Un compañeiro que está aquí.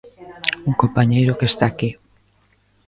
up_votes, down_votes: 2, 0